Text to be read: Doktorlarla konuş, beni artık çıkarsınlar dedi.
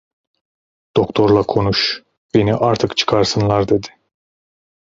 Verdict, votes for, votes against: rejected, 0, 2